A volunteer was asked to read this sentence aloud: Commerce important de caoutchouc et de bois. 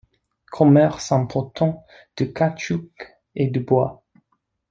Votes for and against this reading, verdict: 1, 2, rejected